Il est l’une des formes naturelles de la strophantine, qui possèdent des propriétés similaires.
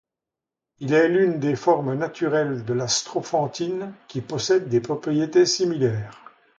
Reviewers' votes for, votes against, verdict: 2, 0, accepted